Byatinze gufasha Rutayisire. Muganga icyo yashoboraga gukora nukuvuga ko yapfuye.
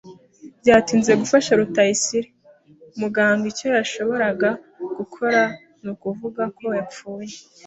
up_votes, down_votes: 2, 0